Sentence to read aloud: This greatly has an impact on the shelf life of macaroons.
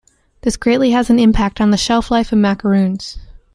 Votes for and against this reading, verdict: 2, 0, accepted